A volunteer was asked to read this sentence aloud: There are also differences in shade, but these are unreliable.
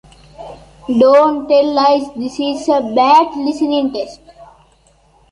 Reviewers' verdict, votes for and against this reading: rejected, 0, 3